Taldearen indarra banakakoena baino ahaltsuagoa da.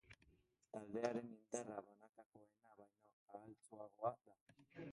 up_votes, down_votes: 0, 3